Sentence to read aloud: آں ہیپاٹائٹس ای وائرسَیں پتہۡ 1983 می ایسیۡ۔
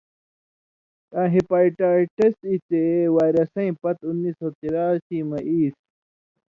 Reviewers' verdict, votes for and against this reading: rejected, 0, 2